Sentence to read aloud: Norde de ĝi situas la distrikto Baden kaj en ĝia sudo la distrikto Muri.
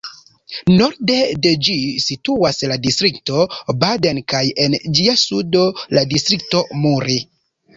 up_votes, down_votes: 2, 0